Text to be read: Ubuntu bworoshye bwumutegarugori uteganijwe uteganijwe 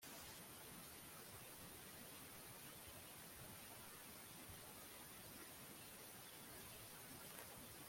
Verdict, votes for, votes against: rejected, 1, 2